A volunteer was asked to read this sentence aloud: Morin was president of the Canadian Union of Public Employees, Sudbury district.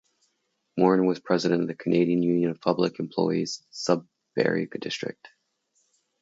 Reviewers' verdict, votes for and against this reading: rejected, 0, 2